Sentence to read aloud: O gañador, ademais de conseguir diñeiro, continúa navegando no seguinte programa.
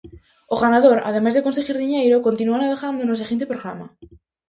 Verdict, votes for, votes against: rejected, 2, 2